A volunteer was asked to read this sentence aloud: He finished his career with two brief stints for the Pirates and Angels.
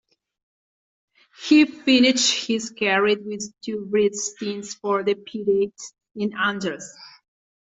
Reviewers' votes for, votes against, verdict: 0, 2, rejected